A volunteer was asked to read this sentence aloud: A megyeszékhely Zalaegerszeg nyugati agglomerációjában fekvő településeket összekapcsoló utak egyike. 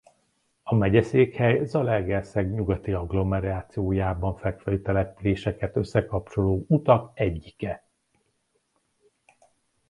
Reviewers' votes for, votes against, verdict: 2, 0, accepted